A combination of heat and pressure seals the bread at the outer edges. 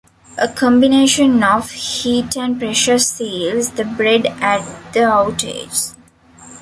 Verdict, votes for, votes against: accepted, 2, 1